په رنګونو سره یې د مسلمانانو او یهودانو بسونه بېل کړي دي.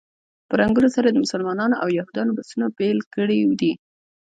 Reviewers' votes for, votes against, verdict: 1, 2, rejected